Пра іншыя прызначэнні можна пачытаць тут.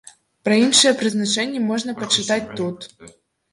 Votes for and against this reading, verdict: 1, 2, rejected